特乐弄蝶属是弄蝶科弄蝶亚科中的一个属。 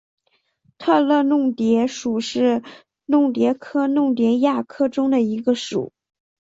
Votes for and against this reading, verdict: 3, 0, accepted